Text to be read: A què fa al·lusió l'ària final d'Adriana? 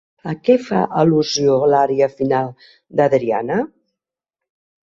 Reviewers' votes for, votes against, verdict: 2, 0, accepted